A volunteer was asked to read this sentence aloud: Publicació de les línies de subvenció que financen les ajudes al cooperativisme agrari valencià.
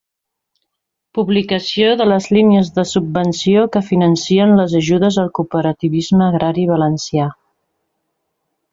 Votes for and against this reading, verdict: 1, 2, rejected